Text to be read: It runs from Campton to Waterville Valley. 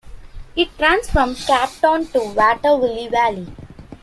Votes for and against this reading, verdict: 1, 2, rejected